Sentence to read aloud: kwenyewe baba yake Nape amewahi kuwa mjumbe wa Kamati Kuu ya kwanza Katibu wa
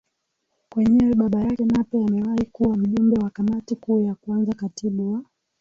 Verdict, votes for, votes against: rejected, 3, 3